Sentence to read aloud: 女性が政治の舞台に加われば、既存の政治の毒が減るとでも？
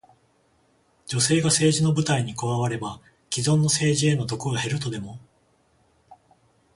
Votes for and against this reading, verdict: 14, 0, accepted